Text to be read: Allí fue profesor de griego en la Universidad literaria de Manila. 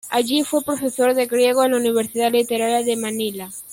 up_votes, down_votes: 1, 2